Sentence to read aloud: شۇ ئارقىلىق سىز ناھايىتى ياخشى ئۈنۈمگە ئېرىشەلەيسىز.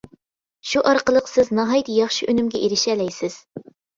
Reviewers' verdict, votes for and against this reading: accepted, 2, 0